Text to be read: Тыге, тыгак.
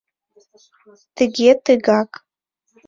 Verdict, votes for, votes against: accepted, 2, 0